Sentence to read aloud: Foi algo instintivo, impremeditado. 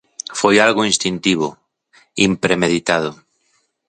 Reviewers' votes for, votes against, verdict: 3, 0, accepted